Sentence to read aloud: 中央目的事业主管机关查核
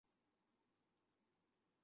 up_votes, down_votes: 0, 3